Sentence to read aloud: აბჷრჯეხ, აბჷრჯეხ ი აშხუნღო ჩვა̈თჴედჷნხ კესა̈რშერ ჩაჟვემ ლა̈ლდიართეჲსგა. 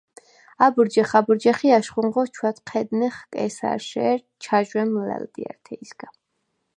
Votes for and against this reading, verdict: 2, 4, rejected